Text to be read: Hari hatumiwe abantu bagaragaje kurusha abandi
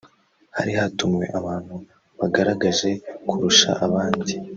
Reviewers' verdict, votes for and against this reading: rejected, 0, 2